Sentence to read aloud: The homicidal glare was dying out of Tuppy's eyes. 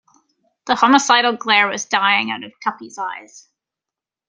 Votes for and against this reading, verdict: 2, 0, accepted